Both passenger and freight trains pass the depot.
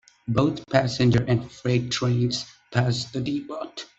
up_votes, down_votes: 0, 2